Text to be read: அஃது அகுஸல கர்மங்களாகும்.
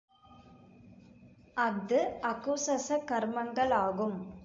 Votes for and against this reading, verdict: 1, 2, rejected